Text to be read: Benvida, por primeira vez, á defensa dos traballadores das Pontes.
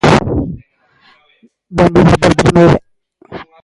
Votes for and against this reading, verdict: 0, 2, rejected